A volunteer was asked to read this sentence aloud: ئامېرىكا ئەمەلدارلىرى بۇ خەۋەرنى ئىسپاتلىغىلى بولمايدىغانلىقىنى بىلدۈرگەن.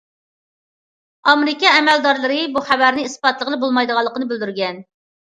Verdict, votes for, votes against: accepted, 2, 0